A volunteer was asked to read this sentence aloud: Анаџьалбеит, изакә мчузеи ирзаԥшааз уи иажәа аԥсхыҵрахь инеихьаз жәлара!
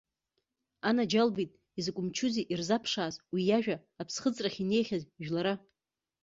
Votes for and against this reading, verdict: 2, 0, accepted